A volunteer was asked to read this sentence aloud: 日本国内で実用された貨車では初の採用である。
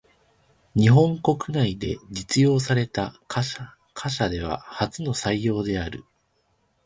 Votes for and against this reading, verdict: 1, 2, rejected